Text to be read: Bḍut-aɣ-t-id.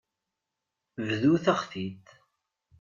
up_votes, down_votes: 1, 2